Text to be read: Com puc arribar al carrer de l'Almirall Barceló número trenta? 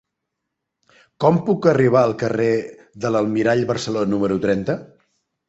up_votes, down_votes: 2, 0